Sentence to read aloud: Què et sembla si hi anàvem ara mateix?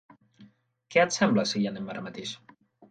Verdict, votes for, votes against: rejected, 0, 2